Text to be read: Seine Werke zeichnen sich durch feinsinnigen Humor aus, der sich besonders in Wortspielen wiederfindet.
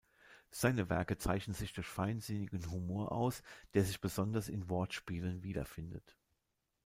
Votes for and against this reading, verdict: 2, 1, accepted